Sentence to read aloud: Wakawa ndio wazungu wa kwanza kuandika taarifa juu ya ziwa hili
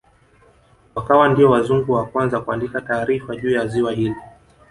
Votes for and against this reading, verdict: 1, 2, rejected